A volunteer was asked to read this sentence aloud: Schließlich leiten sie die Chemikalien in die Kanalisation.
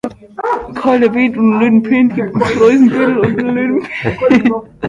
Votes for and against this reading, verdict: 0, 2, rejected